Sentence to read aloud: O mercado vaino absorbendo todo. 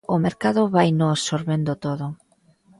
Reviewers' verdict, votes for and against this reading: accepted, 2, 0